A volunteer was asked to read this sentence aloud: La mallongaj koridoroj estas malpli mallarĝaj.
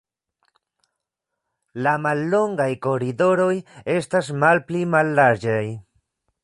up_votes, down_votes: 2, 0